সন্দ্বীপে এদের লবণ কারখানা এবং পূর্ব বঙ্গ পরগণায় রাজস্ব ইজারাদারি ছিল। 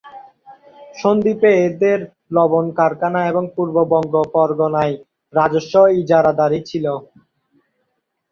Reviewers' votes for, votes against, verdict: 2, 0, accepted